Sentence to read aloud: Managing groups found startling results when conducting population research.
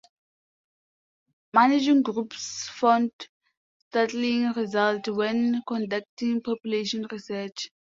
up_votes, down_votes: 0, 2